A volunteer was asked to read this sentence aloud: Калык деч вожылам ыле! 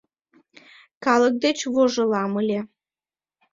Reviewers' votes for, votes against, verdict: 2, 0, accepted